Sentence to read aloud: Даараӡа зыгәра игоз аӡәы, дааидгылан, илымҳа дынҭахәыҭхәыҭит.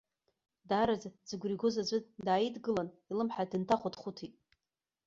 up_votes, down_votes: 1, 2